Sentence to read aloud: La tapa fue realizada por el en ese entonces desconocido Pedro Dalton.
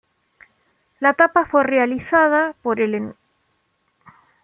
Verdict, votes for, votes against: rejected, 0, 2